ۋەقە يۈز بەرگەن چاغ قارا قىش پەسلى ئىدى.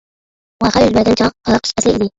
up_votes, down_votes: 0, 2